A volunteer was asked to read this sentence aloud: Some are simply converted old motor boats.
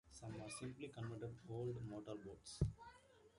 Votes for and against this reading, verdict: 0, 2, rejected